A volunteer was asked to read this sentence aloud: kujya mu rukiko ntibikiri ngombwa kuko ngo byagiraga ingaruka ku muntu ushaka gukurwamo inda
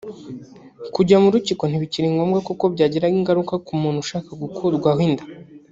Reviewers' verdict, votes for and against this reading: rejected, 0, 2